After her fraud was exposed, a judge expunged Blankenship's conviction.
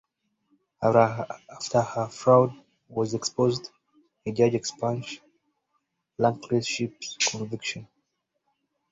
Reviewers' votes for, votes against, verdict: 0, 2, rejected